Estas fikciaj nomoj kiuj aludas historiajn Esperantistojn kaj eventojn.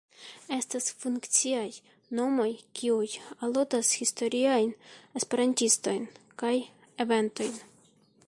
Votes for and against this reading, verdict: 2, 0, accepted